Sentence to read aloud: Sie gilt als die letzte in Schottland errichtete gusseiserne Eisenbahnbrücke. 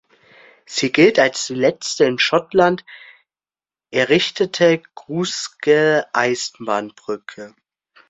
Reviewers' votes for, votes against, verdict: 0, 2, rejected